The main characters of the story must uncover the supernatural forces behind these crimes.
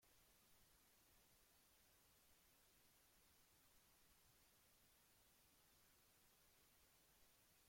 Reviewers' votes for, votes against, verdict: 0, 2, rejected